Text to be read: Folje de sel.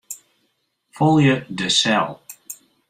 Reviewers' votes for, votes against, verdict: 2, 0, accepted